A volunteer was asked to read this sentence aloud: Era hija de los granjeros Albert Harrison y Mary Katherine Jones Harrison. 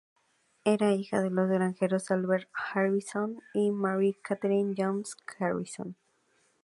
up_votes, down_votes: 0, 2